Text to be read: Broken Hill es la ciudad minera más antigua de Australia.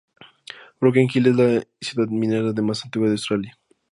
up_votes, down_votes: 0, 2